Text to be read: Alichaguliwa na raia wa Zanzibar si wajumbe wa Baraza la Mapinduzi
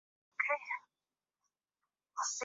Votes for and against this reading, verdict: 1, 2, rejected